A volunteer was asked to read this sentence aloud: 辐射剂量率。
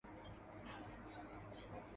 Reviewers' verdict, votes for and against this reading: rejected, 0, 4